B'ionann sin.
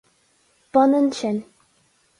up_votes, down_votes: 4, 0